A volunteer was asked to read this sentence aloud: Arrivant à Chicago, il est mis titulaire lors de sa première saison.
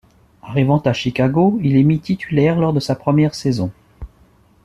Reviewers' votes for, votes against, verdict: 2, 0, accepted